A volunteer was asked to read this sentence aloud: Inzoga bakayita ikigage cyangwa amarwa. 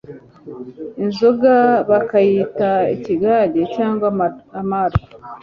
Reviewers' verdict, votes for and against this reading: rejected, 0, 2